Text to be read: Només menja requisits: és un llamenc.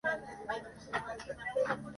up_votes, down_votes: 0, 2